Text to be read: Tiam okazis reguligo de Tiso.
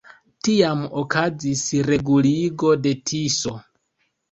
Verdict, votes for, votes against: accepted, 3, 0